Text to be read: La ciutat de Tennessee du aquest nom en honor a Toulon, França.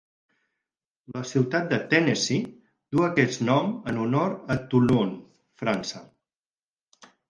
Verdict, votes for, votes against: accepted, 4, 0